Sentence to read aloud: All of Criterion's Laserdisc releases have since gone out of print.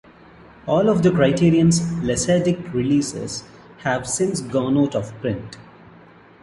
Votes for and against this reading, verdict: 0, 2, rejected